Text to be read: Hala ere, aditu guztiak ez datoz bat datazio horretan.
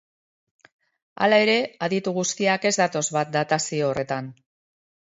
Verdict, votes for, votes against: accepted, 2, 0